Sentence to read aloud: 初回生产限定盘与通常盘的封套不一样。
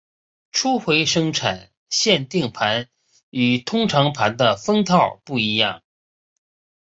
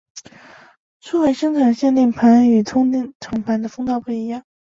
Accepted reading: first